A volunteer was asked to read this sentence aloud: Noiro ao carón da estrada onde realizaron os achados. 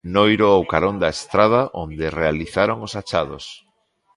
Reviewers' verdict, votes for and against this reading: accepted, 2, 0